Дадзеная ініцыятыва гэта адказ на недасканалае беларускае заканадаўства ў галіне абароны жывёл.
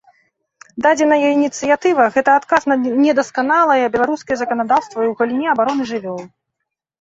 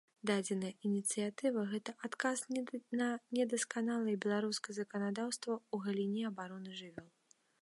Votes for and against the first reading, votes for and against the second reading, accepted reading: 2, 1, 1, 2, first